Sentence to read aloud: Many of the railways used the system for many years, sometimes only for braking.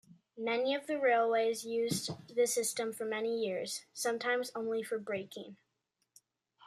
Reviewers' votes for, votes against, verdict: 2, 0, accepted